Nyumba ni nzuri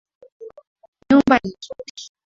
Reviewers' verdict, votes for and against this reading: rejected, 0, 2